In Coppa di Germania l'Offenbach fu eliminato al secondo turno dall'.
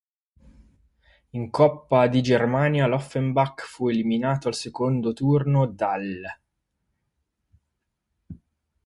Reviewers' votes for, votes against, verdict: 2, 4, rejected